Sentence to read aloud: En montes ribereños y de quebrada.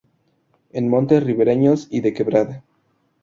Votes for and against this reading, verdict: 2, 0, accepted